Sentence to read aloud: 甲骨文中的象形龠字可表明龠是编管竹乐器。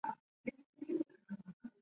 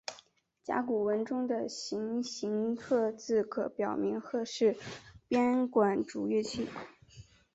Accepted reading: second